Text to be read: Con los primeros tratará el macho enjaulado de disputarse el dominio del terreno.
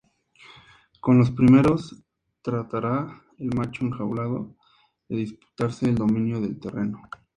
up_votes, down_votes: 4, 0